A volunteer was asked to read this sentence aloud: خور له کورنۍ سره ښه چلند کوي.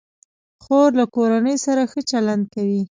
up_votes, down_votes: 2, 0